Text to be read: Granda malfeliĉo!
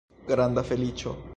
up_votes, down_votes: 1, 2